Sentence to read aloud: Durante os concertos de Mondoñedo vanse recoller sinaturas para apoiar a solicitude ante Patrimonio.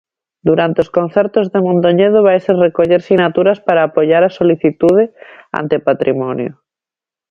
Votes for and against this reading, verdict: 0, 2, rejected